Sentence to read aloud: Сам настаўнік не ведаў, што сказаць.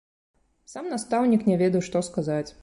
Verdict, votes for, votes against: accepted, 2, 0